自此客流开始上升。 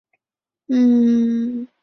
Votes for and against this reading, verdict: 1, 5, rejected